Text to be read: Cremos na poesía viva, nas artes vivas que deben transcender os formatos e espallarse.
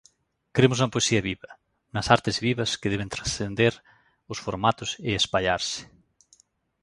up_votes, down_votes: 2, 1